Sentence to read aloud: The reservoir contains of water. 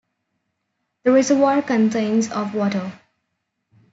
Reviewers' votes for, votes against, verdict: 0, 2, rejected